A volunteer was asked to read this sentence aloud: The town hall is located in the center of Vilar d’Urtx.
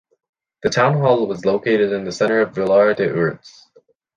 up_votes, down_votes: 1, 2